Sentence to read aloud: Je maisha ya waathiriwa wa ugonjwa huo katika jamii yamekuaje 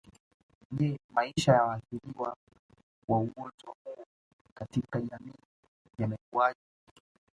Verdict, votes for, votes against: accepted, 2, 1